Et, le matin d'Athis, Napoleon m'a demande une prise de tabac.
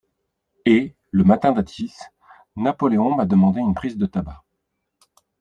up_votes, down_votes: 3, 1